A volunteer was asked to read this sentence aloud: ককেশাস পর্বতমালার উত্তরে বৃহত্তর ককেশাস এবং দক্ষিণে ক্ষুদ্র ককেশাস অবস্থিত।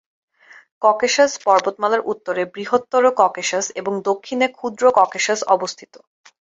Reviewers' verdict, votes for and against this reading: accepted, 8, 0